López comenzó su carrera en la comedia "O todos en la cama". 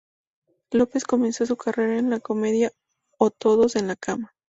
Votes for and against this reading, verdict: 2, 0, accepted